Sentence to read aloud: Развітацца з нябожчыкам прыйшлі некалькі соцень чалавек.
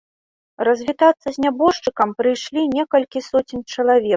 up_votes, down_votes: 2, 0